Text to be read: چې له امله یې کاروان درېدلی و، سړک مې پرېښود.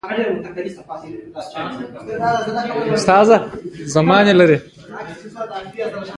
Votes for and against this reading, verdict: 2, 1, accepted